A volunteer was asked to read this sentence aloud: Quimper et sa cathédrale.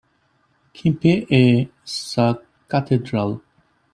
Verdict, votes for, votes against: rejected, 1, 2